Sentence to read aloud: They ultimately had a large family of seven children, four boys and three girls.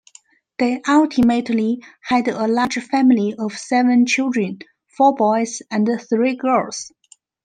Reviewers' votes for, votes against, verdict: 1, 2, rejected